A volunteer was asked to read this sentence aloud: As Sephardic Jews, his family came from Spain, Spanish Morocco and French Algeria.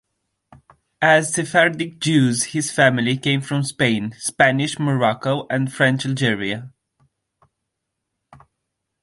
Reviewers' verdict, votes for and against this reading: accepted, 2, 0